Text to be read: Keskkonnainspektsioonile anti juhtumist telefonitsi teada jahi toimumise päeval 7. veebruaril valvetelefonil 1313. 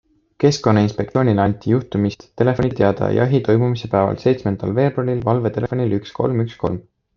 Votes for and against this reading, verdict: 0, 2, rejected